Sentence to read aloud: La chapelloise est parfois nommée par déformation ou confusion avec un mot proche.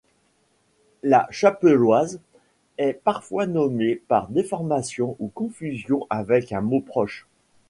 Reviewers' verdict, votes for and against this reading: accepted, 2, 0